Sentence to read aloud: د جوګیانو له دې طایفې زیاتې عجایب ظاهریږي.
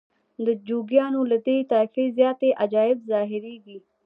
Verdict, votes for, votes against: accepted, 2, 0